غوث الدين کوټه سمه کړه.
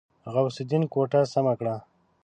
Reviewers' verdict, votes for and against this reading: accepted, 2, 0